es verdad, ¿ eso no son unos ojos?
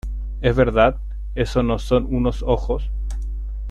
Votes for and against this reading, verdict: 2, 0, accepted